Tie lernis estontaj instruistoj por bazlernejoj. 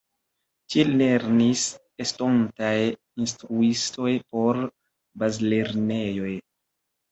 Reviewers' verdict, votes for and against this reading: accepted, 3, 0